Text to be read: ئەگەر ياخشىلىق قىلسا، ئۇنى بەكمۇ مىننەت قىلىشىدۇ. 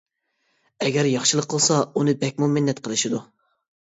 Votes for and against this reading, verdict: 2, 0, accepted